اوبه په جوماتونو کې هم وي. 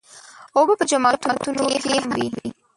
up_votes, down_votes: 1, 2